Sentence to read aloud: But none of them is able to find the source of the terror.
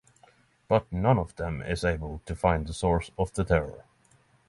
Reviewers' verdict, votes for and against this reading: accepted, 3, 0